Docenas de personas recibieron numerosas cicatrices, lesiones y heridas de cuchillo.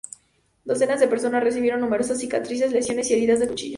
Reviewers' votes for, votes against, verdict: 2, 0, accepted